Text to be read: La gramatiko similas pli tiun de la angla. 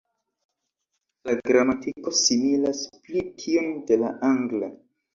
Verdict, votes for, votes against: accepted, 2, 0